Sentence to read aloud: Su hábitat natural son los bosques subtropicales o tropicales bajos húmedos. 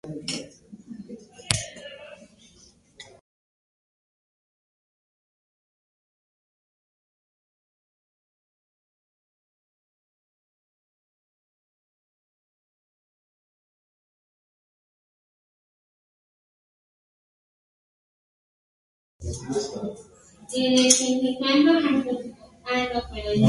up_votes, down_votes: 0, 8